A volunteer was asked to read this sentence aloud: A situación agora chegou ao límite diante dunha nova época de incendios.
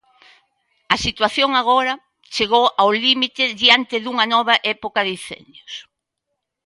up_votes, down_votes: 2, 0